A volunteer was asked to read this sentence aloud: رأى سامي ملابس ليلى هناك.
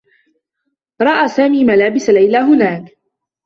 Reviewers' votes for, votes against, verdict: 2, 0, accepted